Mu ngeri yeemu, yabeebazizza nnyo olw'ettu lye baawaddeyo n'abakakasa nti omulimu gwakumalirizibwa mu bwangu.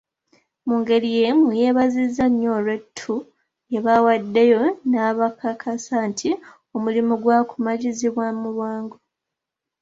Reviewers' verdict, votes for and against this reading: rejected, 0, 2